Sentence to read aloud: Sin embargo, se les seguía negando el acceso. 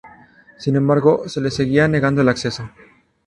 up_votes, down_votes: 2, 0